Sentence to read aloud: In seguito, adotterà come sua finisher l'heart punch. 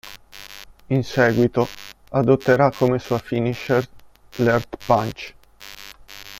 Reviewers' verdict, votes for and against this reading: rejected, 1, 2